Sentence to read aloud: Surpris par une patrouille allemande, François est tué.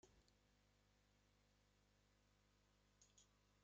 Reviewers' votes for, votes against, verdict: 0, 3, rejected